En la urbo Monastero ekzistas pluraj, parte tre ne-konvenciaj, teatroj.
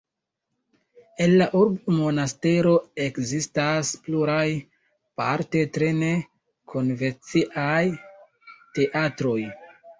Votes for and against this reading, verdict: 2, 0, accepted